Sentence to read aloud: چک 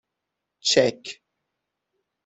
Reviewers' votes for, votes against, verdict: 6, 0, accepted